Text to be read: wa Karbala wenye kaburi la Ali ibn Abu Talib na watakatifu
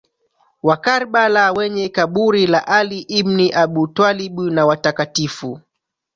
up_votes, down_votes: 0, 2